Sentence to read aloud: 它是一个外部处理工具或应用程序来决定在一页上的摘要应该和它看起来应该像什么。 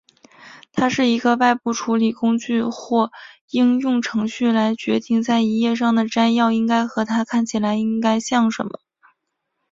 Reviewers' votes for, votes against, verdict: 3, 0, accepted